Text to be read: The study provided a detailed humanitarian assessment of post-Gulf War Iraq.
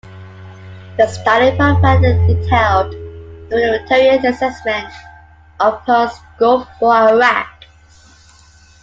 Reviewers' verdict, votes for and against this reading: rejected, 1, 2